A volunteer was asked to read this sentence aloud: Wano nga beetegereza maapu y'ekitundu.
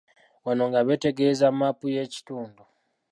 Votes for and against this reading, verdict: 1, 2, rejected